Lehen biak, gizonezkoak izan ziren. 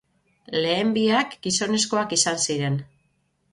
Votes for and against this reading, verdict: 3, 0, accepted